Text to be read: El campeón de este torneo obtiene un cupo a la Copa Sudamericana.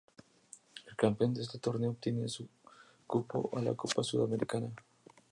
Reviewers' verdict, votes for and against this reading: rejected, 0, 2